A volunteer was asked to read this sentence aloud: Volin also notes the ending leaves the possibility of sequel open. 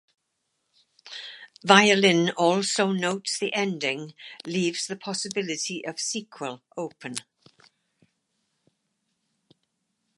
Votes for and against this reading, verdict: 0, 2, rejected